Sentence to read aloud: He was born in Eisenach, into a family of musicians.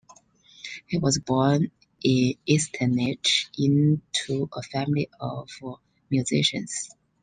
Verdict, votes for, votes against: accepted, 2, 0